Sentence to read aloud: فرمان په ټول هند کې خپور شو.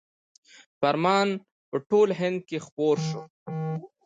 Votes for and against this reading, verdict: 2, 0, accepted